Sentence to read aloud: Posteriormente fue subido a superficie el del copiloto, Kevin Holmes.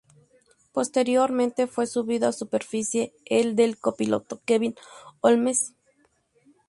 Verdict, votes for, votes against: rejected, 0, 2